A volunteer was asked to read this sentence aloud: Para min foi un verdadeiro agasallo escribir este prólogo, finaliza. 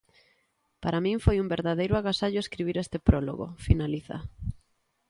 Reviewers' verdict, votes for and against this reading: accepted, 2, 0